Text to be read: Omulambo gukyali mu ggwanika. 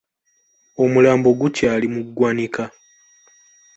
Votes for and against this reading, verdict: 2, 0, accepted